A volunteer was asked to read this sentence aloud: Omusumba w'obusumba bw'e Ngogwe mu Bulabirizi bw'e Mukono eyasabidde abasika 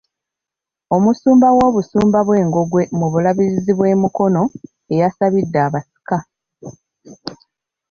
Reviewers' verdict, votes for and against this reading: rejected, 1, 2